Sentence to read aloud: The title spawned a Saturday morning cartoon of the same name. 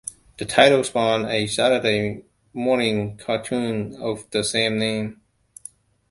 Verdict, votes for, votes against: accepted, 2, 1